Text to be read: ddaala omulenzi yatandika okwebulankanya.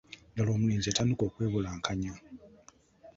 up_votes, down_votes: 2, 1